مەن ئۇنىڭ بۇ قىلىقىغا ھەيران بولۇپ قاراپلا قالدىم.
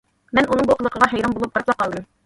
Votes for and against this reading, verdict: 1, 2, rejected